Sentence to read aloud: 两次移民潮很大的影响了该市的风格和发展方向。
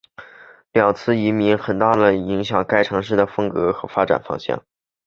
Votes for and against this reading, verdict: 3, 0, accepted